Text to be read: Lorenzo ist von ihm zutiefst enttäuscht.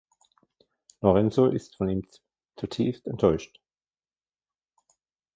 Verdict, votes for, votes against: rejected, 1, 2